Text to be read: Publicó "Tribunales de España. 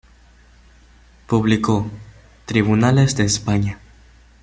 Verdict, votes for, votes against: accepted, 2, 0